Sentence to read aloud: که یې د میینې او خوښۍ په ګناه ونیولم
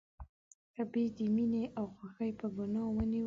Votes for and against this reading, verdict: 0, 3, rejected